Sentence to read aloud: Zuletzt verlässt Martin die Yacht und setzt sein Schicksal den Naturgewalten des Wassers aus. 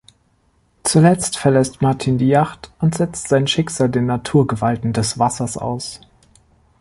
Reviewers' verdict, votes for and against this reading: accepted, 2, 0